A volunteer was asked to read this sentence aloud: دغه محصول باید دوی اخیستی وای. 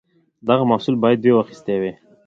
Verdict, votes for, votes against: accepted, 2, 0